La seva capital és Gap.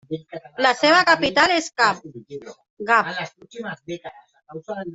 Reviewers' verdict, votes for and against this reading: rejected, 0, 2